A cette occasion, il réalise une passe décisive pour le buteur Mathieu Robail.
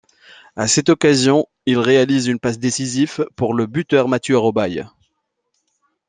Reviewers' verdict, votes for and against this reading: accepted, 2, 0